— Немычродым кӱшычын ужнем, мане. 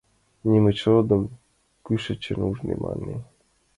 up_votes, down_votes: 2, 0